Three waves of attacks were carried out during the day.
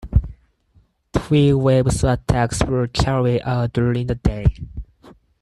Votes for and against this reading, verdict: 4, 0, accepted